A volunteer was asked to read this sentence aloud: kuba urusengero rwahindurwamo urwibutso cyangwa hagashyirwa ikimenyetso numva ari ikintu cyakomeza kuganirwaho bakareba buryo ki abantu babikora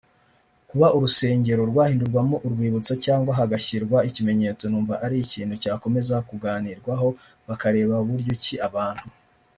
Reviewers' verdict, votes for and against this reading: rejected, 1, 2